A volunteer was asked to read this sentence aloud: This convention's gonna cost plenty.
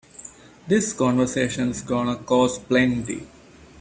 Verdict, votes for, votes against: rejected, 0, 3